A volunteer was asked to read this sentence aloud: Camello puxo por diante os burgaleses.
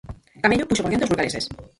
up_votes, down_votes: 0, 4